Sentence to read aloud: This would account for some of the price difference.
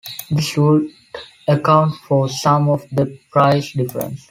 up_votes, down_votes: 3, 0